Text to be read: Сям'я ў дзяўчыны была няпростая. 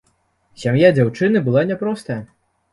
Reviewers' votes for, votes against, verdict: 1, 2, rejected